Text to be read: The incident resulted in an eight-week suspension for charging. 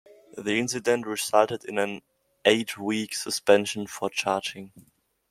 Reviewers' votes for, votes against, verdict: 2, 0, accepted